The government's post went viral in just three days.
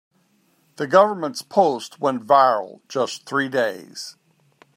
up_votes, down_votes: 1, 2